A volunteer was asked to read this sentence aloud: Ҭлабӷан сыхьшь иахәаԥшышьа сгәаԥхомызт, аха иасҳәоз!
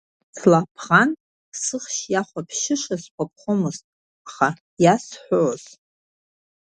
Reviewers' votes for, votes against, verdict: 1, 2, rejected